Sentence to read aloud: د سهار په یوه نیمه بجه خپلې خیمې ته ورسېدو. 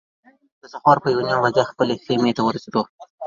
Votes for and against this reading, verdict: 2, 3, rejected